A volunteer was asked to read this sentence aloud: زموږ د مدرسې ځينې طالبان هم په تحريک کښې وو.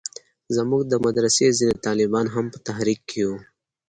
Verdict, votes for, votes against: accepted, 3, 0